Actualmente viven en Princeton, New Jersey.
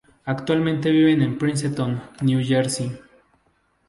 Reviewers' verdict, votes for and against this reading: accepted, 2, 0